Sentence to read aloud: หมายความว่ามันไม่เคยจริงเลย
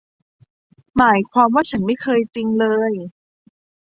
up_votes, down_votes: 0, 2